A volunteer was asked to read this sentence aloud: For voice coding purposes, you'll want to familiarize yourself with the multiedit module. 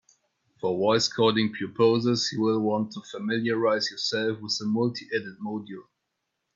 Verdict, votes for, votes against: rejected, 1, 2